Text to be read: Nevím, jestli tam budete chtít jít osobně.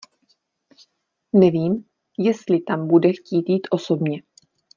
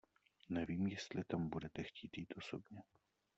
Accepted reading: second